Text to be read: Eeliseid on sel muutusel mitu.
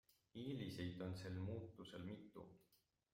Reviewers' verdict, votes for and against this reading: accepted, 2, 1